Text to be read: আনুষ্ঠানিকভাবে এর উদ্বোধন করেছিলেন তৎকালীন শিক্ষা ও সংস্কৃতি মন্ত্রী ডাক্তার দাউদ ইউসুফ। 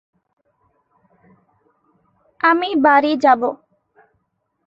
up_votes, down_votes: 0, 2